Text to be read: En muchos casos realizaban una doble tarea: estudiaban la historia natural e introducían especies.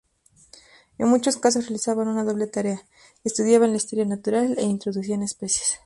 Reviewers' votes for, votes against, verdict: 4, 0, accepted